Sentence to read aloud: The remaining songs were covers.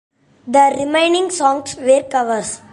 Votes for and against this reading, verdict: 2, 0, accepted